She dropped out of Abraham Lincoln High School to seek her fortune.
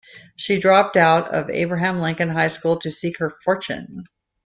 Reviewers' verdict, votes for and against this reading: accepted, 2, 0